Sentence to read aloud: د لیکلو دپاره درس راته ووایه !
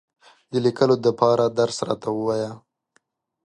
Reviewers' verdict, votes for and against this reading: accepted, 2, 0